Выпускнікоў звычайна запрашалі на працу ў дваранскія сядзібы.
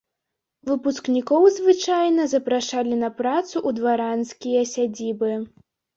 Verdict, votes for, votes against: rejected, 0, 2